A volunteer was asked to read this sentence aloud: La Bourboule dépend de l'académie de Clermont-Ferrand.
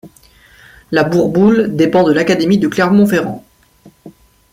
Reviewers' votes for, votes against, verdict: 2, 0, accepted